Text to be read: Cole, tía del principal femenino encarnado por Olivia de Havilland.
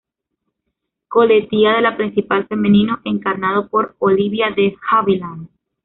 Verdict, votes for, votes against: rejected, 1, 2